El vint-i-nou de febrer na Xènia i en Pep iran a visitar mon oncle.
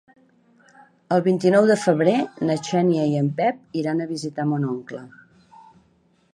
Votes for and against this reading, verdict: 0, 2, rejected